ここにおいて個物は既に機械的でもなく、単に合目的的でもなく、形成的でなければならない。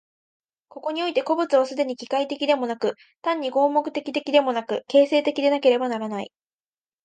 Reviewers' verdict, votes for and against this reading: accepted, 2, 0